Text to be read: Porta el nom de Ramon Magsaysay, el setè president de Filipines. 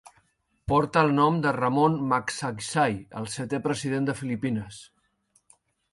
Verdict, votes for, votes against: rejected, 0, 2